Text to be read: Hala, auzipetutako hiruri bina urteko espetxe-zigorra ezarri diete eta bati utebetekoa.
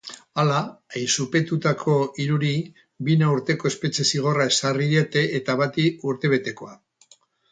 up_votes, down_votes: 4, 2